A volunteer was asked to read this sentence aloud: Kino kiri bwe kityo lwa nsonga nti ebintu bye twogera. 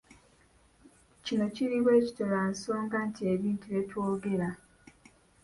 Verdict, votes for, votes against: accepted, 2, 0